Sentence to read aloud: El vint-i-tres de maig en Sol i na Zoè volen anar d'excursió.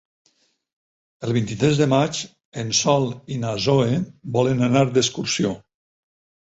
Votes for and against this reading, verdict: 0, 4, rejected